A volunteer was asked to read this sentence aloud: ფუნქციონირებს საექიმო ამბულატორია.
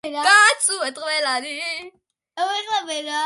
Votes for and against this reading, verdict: 0, 2, rejected